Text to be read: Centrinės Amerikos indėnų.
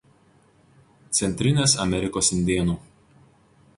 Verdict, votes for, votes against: accepted, 2, 0